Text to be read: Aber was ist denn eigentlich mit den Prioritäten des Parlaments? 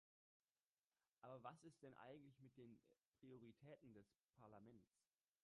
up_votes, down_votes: 0, 2